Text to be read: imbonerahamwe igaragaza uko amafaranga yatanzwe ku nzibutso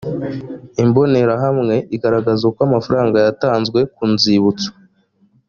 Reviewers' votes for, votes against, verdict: 2, 0, accepted